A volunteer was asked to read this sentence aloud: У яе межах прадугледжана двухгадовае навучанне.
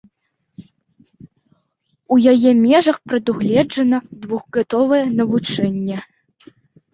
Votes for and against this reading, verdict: 1, 2, rejected